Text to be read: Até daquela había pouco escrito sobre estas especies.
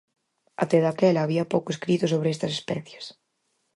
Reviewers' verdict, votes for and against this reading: accepted, 4, 0